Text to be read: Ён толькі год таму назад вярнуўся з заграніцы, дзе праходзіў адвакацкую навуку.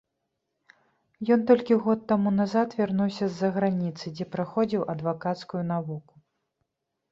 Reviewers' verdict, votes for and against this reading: rejected, 1, 2